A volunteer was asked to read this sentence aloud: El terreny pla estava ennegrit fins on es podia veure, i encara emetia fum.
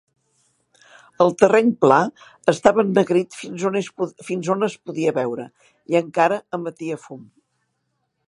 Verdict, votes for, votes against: rejected, 0, 2